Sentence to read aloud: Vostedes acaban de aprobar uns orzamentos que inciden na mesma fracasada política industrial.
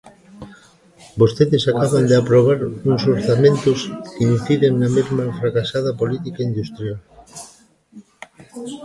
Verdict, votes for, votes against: accepted, 2, 1